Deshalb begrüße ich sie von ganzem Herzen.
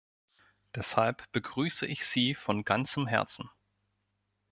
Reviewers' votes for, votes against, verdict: 2, 0, accepted